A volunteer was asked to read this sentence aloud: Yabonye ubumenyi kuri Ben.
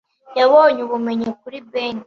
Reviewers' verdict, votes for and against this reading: accepted, 2, 0